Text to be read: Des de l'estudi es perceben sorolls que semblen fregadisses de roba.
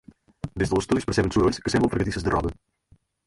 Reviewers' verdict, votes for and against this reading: rejected, 0, 4